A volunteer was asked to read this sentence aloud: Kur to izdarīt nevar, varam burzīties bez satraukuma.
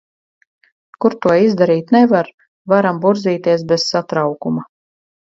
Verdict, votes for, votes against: accepted, 4, 0